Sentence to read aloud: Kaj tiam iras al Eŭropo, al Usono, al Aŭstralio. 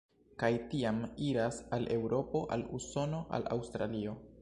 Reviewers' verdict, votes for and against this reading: rejected, 1, 2